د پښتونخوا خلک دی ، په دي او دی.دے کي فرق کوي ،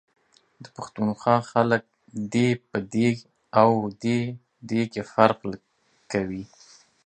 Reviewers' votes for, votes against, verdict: 2, 0, accepted